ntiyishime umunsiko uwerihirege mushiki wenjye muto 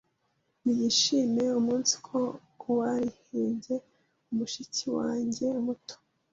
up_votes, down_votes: 0, 2